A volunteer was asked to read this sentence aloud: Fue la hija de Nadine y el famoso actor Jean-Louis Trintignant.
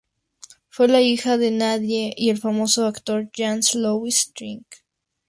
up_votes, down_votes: 2, 2